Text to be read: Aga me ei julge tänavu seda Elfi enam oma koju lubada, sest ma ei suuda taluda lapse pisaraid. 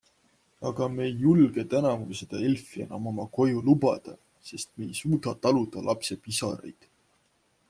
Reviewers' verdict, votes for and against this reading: accepted, 2, 1